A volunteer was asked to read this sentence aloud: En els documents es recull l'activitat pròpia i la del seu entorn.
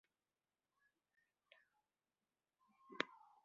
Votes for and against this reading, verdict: 0, 2, rejected